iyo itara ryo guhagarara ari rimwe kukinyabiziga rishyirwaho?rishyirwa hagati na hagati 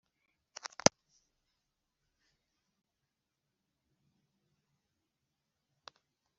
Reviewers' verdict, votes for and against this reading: rejected, 1, 3